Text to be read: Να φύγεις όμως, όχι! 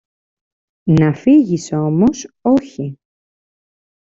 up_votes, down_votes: 2, 0